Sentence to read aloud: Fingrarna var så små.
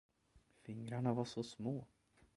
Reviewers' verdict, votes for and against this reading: rejected, 0, 2